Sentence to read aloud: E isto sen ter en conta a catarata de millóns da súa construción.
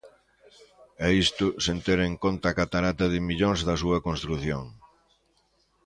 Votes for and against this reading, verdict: 2, 1, accepted